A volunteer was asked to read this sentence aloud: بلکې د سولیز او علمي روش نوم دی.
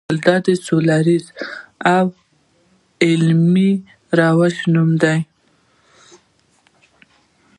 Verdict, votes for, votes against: accepted, 2, 0